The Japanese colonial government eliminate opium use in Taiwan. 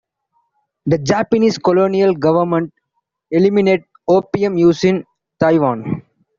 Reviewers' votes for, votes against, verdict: 3, 1, accepted